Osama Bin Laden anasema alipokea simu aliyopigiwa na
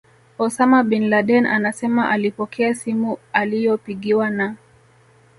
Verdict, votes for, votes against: accepted, 2, 0